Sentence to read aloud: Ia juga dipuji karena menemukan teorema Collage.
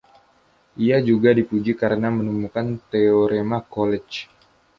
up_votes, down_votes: 2, 0